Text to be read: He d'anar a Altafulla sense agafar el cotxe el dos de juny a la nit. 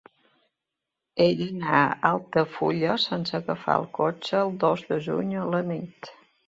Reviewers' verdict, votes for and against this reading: accepted, 2, 0